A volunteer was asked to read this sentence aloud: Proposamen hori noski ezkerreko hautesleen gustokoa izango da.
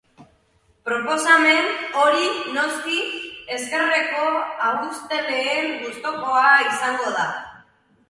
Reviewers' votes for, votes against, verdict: 0, 2, rejected